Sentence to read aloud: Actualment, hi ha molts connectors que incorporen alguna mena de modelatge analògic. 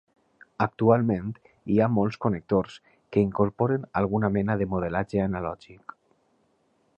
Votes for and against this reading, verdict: 2, 0, accepted